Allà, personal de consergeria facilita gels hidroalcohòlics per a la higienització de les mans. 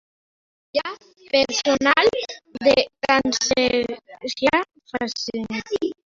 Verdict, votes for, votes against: rejected, 0, 2